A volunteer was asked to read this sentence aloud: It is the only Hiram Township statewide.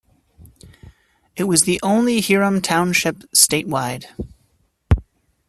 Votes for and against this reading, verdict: 1, 2, rejected